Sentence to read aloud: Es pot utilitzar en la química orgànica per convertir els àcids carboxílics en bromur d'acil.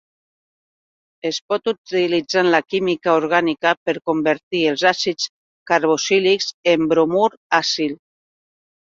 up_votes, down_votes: 2, 4